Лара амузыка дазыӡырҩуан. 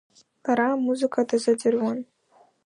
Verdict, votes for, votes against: accepted, 2, 1